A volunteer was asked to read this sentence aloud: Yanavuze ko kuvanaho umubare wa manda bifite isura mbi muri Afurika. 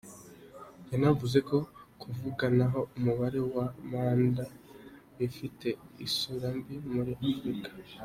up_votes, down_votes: 2, 0